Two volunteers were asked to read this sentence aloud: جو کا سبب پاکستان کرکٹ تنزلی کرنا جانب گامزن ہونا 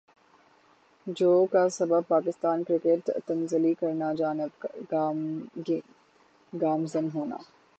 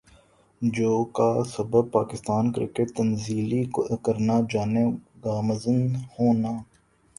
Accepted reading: second